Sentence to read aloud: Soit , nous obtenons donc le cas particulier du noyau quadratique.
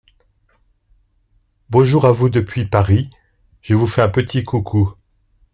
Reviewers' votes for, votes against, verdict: 0, 2, rejected